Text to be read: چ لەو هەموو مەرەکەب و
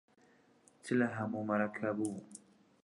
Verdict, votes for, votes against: rejected, 1, 2